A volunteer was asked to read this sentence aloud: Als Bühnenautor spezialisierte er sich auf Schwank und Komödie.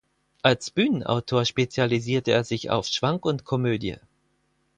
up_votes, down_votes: 4, 0